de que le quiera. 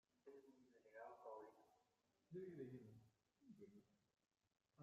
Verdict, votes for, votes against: rejected, 0, 2